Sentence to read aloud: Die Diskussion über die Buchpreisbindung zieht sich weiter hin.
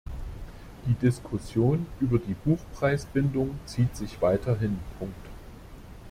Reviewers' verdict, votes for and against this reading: rejected, 0, 2